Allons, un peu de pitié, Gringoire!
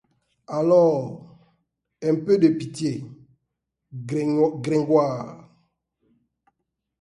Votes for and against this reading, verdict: 0, 2, rejected